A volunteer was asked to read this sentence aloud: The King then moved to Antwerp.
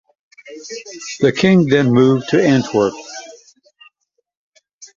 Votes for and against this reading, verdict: 2, 0, accepted